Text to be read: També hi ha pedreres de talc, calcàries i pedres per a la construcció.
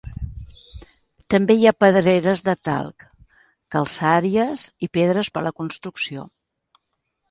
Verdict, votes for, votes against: rejected, 0, 2